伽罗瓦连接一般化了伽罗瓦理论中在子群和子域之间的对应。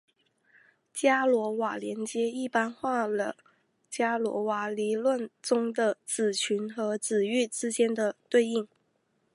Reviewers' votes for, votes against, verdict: 2, 0, accepted